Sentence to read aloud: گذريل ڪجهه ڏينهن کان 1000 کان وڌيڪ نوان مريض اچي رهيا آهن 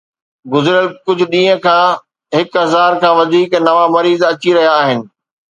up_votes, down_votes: 0, 2